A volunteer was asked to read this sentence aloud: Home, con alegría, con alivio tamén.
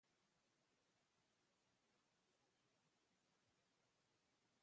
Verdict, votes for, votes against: rejected, 0, 2